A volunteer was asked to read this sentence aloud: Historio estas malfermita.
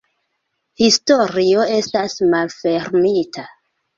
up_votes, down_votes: 0, 2